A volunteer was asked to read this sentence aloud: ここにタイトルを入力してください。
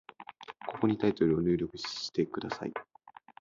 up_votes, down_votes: 3, 0